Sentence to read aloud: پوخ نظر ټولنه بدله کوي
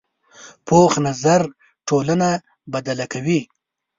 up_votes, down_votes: 3, 0